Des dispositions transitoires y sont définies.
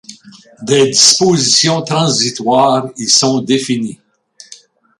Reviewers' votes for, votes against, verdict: 1, 2, rejected